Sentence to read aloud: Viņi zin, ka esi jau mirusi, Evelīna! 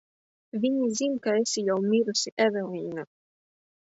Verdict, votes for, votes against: accepted, 2, 0